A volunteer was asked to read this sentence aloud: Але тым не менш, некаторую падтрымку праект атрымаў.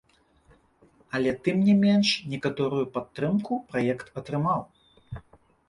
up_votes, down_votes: 2, 0